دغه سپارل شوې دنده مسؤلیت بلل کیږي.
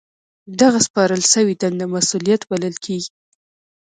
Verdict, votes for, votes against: accepted, 2, 0